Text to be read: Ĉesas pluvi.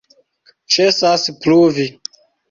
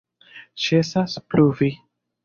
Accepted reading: second